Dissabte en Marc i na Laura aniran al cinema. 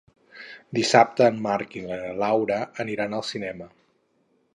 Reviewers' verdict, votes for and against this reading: rejected, 2, 2